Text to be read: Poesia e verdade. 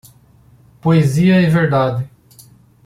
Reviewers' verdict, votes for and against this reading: accepted, 2, 0